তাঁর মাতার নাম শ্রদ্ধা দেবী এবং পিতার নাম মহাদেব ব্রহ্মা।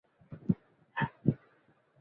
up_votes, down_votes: 0, 2